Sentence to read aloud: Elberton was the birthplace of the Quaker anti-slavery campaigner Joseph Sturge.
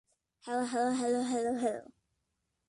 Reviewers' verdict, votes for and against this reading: rejected, 0, 2